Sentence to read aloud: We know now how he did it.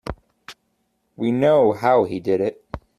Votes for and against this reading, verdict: 1, 2, rejected